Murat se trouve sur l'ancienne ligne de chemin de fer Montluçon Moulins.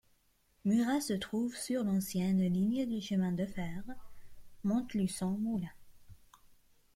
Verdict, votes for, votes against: rejected, 0, 2